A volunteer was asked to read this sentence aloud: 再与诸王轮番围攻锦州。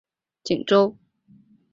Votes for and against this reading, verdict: 1, 2, rejected